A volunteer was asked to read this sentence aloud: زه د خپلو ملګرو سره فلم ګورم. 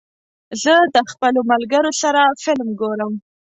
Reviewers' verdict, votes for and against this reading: accepted, 2, 0